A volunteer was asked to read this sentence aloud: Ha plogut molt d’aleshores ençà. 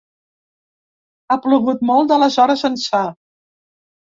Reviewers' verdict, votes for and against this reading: accepted, 2, 0